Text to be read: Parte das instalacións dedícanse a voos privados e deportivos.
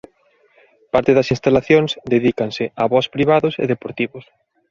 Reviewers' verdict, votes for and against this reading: accepted, 2, 0